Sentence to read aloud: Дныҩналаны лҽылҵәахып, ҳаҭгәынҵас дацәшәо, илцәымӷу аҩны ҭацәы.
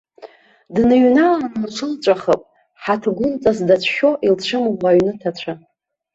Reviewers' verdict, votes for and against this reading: accepted, 2, 0